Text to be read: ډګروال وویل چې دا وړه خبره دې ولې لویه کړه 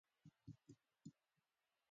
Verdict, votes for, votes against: rejected, 1, 2